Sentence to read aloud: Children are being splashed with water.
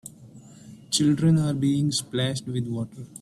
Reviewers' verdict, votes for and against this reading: accepted, 2, 0